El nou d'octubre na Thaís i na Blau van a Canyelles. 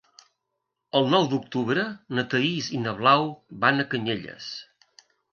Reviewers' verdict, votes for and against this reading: accepted, 2, 0